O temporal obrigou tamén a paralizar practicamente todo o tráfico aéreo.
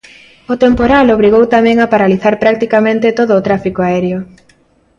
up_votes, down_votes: 2, 0